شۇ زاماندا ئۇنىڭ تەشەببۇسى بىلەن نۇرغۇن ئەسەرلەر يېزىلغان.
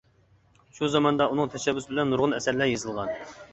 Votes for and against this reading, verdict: 2, 0, accepted